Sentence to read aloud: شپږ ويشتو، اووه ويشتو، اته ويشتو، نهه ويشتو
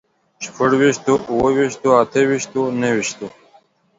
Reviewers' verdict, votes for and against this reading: accepted, 2, 0